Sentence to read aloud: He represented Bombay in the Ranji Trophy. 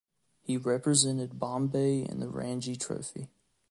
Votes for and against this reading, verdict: 2, 1, accepted